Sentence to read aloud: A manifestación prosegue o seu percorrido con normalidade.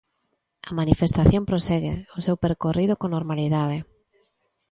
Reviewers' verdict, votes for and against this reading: accepted, 2, 0